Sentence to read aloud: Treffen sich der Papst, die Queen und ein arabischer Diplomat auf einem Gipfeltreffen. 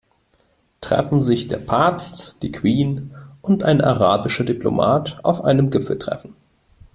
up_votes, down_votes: 2, 0